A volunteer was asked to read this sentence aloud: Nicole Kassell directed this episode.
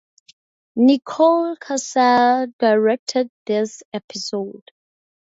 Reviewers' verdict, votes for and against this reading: accepted, 2, 0